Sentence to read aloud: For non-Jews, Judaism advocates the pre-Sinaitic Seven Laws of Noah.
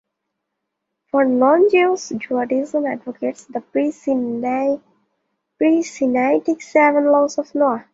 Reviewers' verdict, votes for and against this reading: rejected, 1, 2